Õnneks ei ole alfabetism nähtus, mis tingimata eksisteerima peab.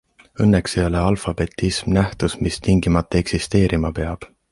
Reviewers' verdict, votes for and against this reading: accepted, 2, 0